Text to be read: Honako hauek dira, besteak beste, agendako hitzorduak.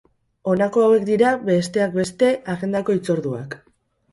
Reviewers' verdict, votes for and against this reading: rejected, 0, 2